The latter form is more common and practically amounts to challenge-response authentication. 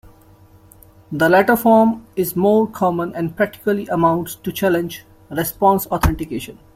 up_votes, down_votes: 2, 0